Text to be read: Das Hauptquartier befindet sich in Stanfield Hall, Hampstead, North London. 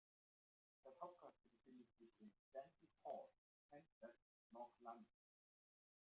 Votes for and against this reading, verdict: 0, 2, rejected